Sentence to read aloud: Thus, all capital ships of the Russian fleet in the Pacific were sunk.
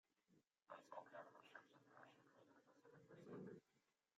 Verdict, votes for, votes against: rejected, 0, 2